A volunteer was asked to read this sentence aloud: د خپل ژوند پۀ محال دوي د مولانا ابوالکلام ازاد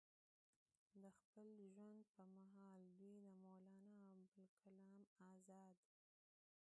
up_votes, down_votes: 2, 0